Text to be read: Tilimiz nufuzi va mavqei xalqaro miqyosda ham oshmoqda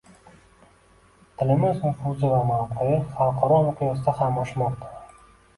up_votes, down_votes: 2, 1